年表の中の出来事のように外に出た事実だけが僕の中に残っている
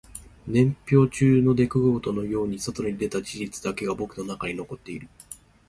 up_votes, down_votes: 2, 1